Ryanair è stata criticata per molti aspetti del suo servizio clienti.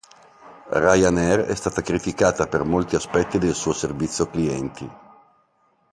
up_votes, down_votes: 2, 1